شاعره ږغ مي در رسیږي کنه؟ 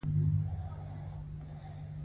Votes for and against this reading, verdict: 1, 2, rejected